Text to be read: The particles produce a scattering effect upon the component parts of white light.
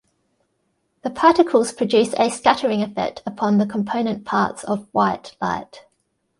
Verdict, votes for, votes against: accepted, 2, 0